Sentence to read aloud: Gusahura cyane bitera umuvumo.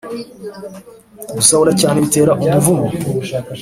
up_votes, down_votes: 3, 0